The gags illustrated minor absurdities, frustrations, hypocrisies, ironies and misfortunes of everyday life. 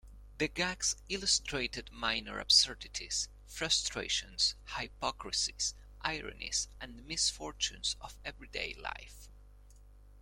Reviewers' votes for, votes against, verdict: 2, 0, accepted